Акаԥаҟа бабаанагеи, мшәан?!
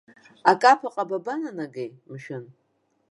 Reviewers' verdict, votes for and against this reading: rejected, 1, 2